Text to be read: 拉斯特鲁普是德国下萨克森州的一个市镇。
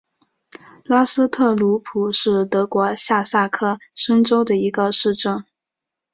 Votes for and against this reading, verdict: 3, 0, accepted